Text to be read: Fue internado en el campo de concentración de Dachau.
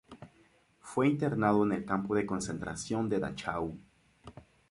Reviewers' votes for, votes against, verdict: 0, 2, rejected